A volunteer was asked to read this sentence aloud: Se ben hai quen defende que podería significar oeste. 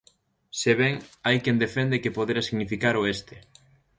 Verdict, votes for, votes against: rejected, 0, 2